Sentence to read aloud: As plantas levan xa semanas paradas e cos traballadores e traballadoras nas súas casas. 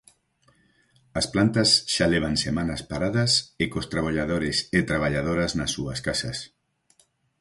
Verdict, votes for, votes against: rejected, 0, 4